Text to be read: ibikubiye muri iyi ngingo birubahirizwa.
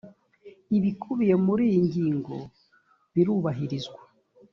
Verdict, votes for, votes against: accepted, 2, 0